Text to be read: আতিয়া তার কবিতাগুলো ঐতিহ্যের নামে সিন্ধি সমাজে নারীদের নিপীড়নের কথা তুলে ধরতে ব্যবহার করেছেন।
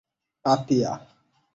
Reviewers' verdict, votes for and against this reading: rejected, 0, 18